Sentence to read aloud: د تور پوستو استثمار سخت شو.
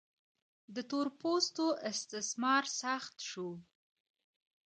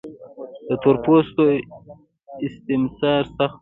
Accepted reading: second